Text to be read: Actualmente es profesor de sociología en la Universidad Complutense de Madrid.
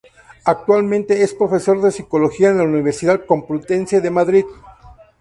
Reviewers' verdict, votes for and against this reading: rejected, 0, 2